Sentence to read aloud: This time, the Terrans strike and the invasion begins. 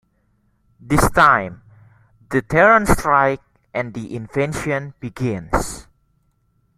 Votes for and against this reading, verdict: 1, 2, rejected